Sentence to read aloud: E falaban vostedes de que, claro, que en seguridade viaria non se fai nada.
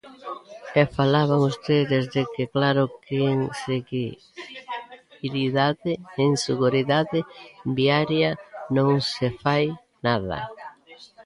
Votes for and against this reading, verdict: 0, 2, rejected